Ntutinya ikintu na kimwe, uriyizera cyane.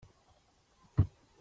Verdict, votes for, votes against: rejected, 0, 2